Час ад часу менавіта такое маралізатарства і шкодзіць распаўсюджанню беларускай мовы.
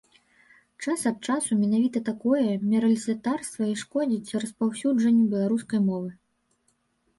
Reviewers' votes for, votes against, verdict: 1, 2, rejected